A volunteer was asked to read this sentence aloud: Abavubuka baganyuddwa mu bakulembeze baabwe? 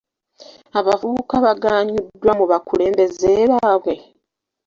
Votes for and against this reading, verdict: 2, 1, accepted